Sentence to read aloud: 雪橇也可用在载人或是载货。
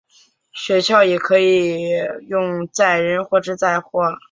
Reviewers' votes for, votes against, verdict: 2, 0, accepted